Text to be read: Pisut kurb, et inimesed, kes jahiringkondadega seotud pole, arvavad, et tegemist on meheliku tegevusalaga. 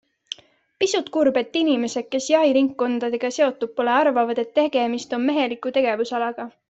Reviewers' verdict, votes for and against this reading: accepted, 2, 0